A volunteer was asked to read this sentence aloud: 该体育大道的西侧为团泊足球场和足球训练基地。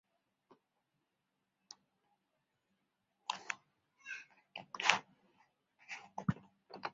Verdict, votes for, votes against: rejected, 0, 4